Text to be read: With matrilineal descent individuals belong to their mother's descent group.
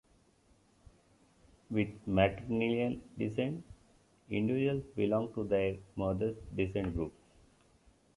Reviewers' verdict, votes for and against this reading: rejected, 1, 2